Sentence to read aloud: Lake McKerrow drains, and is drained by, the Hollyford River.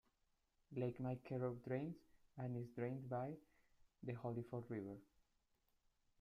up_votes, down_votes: 0, 2